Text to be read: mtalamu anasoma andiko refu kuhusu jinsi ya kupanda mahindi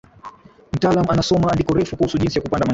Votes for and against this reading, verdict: 1, 2, rejected